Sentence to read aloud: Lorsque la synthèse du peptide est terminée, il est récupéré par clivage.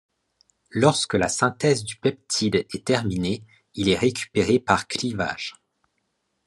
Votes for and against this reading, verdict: 2, 0, accepted